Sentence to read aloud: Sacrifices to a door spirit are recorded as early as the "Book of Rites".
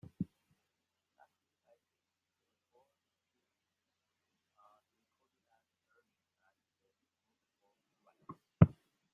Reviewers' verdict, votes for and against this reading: rejected, 0, 3